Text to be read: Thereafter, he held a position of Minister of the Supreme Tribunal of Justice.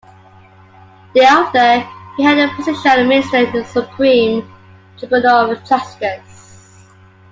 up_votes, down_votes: 2, 0